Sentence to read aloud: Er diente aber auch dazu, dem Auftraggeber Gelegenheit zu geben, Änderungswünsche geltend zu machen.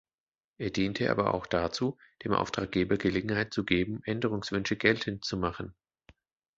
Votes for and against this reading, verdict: 2, 0, accepted